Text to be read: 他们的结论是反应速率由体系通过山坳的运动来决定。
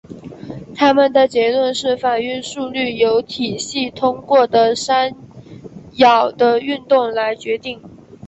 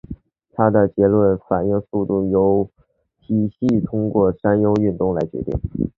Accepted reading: first